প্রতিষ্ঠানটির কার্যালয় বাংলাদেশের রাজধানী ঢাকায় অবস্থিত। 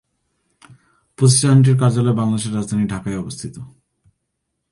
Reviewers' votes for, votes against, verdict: 1, 2, rejected